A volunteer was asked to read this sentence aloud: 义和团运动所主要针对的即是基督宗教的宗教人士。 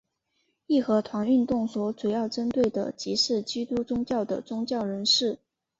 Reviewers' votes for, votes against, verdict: 6, 0, accepted